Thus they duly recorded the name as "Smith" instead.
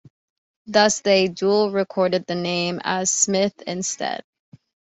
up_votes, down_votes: 0, 2